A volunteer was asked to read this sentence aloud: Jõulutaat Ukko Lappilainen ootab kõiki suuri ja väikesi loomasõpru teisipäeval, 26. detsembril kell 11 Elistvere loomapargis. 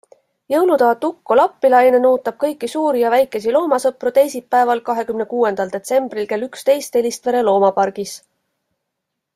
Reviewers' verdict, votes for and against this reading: rejected, 0, 2